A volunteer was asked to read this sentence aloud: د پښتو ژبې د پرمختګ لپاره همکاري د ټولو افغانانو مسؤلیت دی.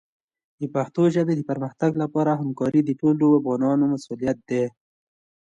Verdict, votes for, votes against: accepted, 2, 0